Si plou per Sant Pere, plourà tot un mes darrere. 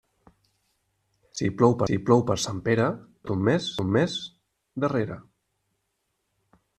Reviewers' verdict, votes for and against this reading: rejected, 0, 2